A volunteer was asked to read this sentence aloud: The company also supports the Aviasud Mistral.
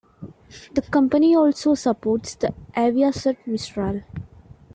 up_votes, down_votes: 2, 0